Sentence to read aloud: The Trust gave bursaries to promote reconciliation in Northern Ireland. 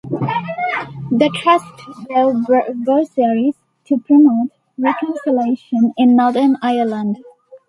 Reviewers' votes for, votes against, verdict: 0, 2, rejected